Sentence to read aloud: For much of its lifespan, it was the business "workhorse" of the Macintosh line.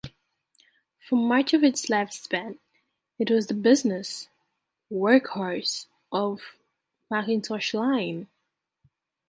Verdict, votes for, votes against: rejected, 0, 2